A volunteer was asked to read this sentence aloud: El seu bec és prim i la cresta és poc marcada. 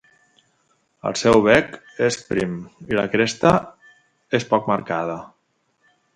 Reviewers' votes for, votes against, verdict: 2, 0, accepted